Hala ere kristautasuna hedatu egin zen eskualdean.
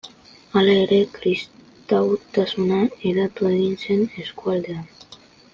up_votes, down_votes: 2, 1